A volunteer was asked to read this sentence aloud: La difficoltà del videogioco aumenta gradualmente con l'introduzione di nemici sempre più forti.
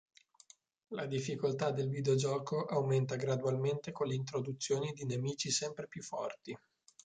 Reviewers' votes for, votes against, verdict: 3, 0, accepted